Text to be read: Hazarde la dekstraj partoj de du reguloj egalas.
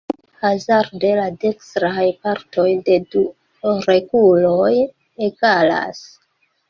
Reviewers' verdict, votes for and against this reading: rejected, 1, 2